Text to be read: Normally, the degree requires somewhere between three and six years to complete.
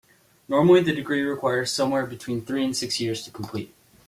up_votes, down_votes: 2, 0